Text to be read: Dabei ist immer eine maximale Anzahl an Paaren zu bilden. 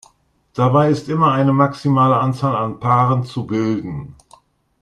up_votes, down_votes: 2, 0